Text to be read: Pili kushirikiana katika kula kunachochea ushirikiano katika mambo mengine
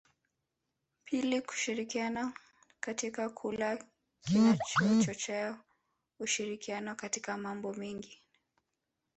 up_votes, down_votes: 0, 2